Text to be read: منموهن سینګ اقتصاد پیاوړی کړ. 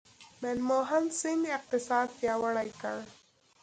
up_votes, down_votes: 2, 0